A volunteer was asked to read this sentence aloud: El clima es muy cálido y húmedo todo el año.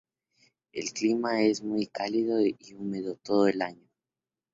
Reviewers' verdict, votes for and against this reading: accepted, 2, 0